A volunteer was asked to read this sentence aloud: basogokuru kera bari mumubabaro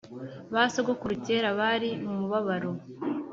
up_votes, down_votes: 2, 0